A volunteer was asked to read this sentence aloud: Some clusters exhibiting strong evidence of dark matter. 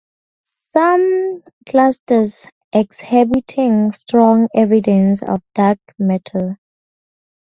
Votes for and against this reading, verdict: 2, 0, accepted